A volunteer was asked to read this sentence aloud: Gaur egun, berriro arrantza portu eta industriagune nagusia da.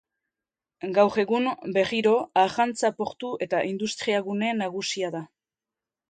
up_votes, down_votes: 2, 0